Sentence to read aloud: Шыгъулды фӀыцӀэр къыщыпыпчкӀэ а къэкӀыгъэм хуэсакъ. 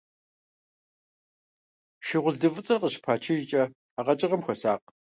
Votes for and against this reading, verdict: 1, 2, rejected